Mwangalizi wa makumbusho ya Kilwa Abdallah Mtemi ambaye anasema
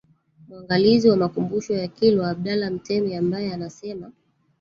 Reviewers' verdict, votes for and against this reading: rejected, 0, 3